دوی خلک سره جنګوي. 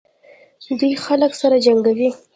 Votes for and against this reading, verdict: 2, 1, accepted